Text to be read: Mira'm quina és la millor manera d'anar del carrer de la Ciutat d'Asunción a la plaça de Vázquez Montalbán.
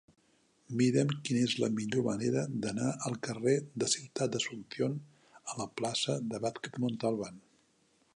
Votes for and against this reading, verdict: 0, 3, rejected